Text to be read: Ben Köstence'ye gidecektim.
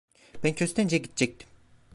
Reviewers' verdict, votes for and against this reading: rejected, 0, 2